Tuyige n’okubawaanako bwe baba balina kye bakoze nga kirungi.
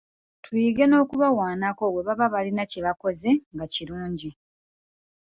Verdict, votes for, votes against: accepted, 2, 0